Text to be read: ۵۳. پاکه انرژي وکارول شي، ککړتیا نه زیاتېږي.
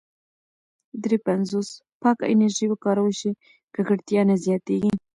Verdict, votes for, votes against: rejected, 0, 2